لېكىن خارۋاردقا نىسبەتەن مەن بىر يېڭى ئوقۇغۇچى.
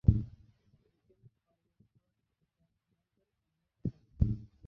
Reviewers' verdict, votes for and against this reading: rejected, 0, 2